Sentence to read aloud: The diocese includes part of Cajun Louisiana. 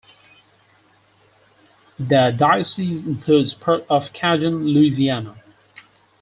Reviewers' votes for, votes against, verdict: 2, 4, rejected